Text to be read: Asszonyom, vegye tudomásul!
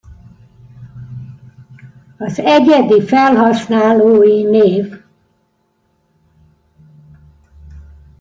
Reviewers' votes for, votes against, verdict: 0, 2, rejected